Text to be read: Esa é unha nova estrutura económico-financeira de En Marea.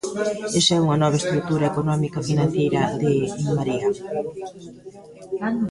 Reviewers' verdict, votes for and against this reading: rejected, 1, 2